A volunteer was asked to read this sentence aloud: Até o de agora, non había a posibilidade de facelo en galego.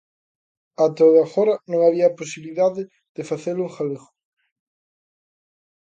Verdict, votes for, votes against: accepted, 2, 0